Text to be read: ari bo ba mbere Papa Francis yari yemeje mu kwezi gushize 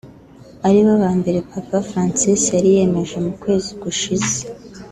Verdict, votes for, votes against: rejected, 0, 2